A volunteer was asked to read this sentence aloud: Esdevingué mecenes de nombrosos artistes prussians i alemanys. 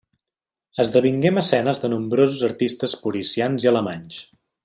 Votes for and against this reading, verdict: 0, 2, rejected